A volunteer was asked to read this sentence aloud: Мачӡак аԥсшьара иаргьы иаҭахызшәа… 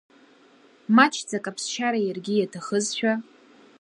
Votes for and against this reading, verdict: 2, 0, accepted